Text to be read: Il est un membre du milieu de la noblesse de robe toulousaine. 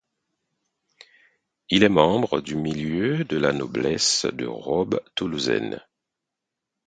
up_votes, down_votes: 2, 4